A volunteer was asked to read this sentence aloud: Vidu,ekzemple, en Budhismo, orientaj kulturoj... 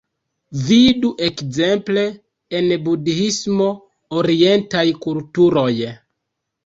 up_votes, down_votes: 1, 2